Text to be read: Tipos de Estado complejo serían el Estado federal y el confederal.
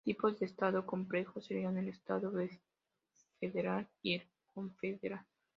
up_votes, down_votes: 2, 0